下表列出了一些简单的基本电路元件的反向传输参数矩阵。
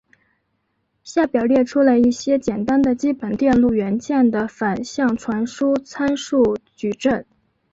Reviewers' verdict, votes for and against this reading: accepted, 4, 0